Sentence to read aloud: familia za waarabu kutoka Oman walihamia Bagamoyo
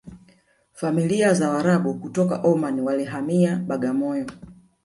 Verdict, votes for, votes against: rejected, 1, 2